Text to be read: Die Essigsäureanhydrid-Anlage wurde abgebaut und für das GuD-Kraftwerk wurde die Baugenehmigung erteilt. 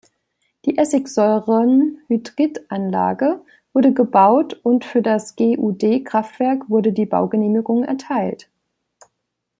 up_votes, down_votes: 0, 2